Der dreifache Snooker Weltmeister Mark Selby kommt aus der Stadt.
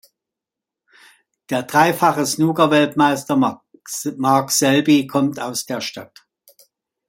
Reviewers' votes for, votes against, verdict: 2, 1, accepted